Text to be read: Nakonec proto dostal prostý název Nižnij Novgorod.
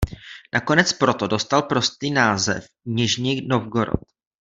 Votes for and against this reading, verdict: 2, 0, accepted